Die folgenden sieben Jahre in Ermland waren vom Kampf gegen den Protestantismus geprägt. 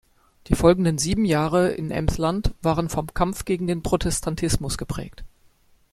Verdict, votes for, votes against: rejected, 0, 2